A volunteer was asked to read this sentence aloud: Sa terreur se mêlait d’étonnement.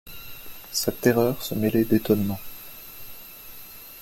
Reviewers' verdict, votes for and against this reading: rejected, 1, 2